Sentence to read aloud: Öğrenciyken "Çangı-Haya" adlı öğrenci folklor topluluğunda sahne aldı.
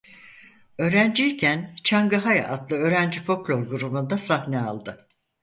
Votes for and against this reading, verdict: 0, 4, rejected